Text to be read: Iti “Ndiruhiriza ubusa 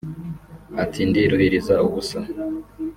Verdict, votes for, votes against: rejected, 1, 2